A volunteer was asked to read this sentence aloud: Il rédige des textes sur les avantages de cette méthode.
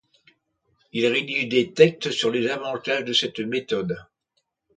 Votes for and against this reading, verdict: 1, 2, rejected